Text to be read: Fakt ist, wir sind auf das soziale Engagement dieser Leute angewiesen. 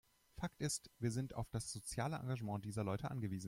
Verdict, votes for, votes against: accepted, 2, 0